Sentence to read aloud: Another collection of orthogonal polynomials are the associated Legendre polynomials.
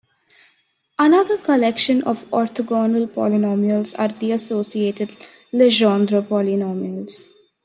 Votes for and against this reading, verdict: 1, 2, rejected